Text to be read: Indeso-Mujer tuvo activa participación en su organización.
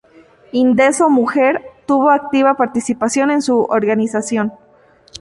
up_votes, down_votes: 2, 0